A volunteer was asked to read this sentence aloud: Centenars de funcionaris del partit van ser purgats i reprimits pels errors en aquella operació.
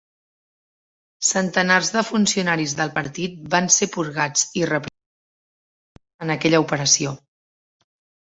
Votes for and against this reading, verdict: 0, 2, rejected